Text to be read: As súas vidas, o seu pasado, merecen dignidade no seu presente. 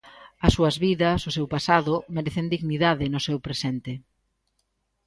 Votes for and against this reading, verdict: 2, 0, accepted